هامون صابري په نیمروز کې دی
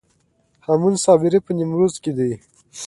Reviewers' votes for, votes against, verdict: 2, 0, accepted